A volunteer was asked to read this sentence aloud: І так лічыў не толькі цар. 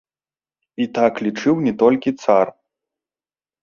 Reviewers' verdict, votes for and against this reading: rejected, 1, 2